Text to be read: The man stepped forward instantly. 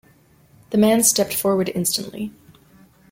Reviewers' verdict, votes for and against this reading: accepted, 2, 0